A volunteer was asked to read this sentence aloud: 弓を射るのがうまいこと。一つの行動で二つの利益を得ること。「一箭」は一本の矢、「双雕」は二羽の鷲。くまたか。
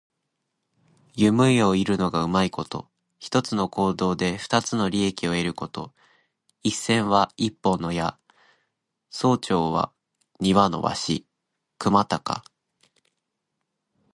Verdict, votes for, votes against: accepted, 2, 1